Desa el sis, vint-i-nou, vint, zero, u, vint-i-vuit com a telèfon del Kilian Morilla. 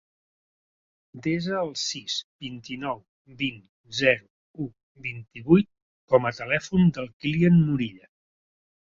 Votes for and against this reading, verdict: 2, 0, accepted